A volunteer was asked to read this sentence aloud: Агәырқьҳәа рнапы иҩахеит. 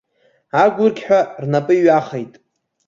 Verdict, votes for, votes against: accepted, 2, 0